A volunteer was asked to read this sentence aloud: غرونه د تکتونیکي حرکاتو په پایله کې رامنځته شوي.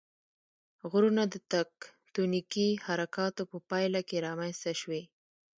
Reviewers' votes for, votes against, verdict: 1, 2, rejected